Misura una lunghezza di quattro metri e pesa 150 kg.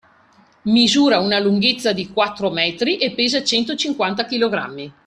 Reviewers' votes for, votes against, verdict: 0, 2, rejected